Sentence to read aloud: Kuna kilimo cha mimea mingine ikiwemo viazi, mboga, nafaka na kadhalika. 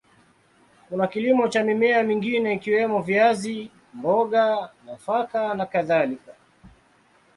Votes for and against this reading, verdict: 2, 0, accepted